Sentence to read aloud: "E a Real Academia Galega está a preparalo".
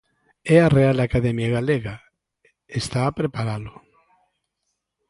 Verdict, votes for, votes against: accepted, 2, 0